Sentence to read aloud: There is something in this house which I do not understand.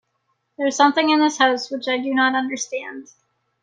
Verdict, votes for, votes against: accepted, 2, 0